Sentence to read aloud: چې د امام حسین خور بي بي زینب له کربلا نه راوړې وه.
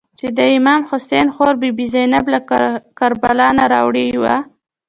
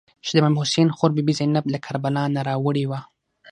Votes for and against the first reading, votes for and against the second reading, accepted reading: 0, 2, 6, 0, second